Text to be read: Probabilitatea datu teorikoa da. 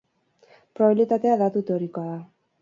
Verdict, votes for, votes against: accepted, 6, 0